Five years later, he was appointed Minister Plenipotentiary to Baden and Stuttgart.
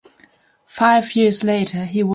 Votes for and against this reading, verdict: 1, 2, rejected